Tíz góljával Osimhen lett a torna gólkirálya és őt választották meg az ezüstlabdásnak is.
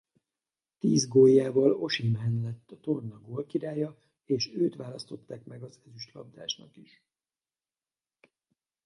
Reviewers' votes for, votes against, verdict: 2, 4, rejected